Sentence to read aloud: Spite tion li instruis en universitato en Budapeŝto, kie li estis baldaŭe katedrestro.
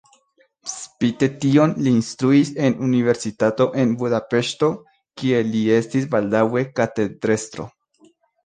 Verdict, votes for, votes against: accepted, 2, 0